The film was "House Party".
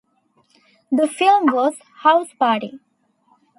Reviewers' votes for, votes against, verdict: 2, 0, accepted